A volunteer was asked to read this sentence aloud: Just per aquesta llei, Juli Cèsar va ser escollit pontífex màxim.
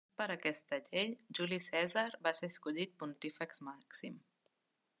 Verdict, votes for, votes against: rejected, 1, 2